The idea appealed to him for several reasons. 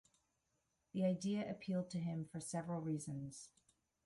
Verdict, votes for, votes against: accepted, 2, 0